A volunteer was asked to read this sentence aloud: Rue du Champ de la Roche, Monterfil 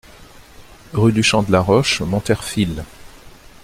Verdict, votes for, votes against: accepted, 2, 0